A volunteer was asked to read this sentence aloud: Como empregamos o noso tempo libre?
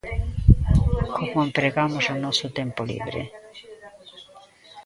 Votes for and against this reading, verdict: 2, 1, accepted